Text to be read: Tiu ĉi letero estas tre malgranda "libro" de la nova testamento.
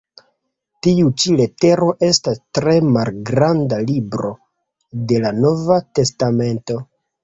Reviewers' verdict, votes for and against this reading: accepted, 2, 0